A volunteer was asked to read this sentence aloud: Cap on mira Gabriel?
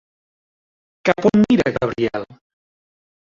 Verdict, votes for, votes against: rejected, 1, 2